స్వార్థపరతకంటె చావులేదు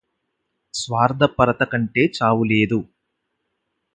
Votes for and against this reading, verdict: 4, 0, accepted